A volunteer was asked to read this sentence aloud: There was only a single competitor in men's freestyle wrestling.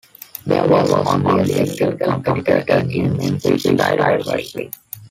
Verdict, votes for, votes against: rejected, 0, 2